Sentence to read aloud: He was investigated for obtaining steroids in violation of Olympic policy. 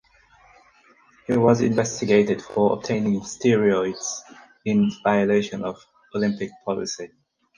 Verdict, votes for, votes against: rejected, 2, 4